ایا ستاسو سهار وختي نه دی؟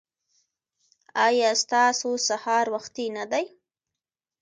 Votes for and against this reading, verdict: 2, 0, accepted